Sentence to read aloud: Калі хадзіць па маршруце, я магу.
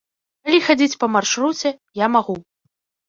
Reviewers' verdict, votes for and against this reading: rejected, 2, 3